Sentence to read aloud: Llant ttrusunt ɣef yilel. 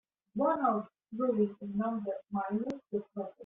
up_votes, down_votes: 0, 2